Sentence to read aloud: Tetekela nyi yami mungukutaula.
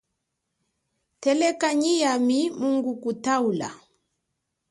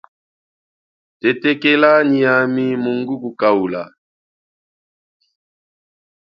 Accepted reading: first